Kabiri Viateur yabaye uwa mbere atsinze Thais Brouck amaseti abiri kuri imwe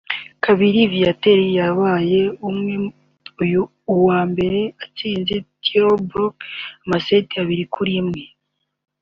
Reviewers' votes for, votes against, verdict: 2, 1, accepted